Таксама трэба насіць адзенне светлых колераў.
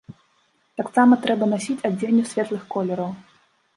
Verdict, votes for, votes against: accepted, 2, 0